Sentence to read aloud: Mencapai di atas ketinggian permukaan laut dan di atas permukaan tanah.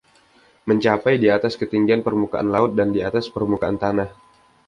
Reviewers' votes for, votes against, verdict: 2, 0, accepted